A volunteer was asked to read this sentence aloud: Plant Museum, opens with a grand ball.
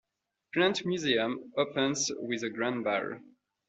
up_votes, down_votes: 2, 1